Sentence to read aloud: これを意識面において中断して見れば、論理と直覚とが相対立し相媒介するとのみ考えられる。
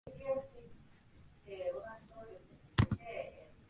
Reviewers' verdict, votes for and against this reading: rejected, 5, 9